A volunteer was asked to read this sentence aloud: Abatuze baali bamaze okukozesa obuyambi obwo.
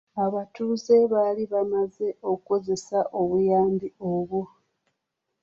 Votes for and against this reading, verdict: 2, 0, accepted